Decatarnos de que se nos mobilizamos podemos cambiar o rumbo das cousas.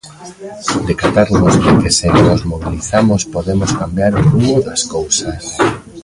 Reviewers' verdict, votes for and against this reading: rejected, 0, 3